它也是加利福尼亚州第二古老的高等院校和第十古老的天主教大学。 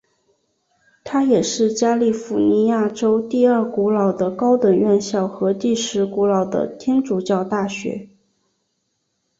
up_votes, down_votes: 2, 0